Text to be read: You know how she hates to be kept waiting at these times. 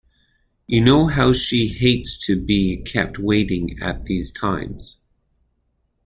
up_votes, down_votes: 2, 1